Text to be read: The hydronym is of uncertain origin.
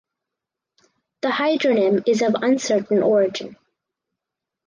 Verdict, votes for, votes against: accepted, 4, 0